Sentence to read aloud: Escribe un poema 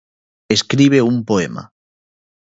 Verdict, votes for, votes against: accepted, 2, 0